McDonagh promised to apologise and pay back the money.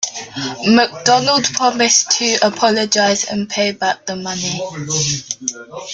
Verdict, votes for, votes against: rejected, 0, 2